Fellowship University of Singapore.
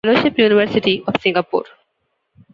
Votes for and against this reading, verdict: 0, 2, rejected